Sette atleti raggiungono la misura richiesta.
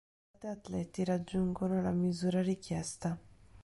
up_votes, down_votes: 0, 2